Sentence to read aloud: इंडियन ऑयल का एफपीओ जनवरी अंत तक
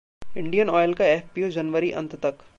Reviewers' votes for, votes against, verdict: 2, 0, accepted